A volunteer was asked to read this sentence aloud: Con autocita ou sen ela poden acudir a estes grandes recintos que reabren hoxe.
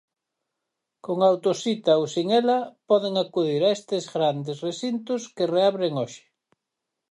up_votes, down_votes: 4, 0